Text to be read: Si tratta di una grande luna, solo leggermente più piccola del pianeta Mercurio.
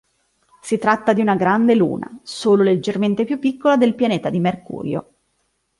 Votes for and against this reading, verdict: 1, 2, rejected